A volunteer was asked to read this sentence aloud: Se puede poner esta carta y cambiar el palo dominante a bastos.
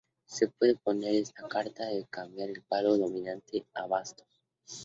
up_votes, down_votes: 2, 0